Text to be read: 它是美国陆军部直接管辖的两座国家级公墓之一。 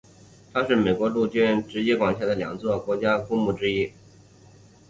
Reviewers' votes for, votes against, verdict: 2, 3, rejected